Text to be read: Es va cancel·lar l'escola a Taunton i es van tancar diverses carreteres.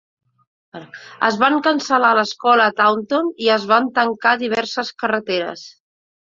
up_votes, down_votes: 1, 2